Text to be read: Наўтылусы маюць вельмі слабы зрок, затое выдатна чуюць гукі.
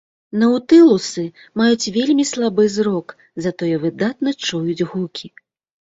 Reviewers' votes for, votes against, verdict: 2, 0, accepted